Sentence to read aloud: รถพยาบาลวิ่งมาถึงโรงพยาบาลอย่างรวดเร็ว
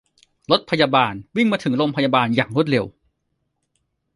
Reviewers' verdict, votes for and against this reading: accepted, 2, 1